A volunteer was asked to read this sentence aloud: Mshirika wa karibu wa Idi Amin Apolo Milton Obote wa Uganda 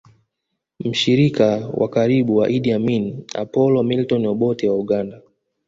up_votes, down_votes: 0, 2